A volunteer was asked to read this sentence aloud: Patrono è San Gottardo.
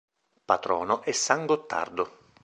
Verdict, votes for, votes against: accepted, 2, 0